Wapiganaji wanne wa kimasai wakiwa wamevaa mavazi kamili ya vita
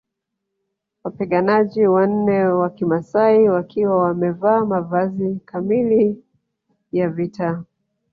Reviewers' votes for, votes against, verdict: 2, 3, rejected